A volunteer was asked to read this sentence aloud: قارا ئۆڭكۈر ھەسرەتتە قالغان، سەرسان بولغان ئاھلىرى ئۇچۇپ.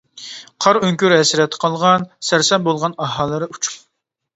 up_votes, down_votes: 0, 2